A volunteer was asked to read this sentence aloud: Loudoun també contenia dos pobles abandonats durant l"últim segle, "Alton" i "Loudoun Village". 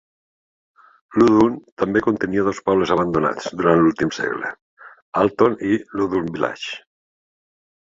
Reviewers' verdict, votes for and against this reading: rejected, 0, 2